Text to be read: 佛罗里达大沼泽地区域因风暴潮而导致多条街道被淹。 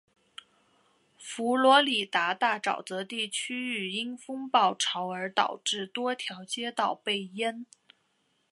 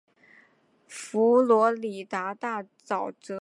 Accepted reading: first